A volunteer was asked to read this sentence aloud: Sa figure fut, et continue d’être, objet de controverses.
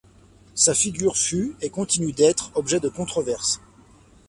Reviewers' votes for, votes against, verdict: 2, 0, accepted